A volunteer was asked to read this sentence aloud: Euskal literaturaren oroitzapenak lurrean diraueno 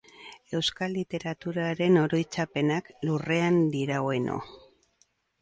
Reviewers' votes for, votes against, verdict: 0, 2, rejected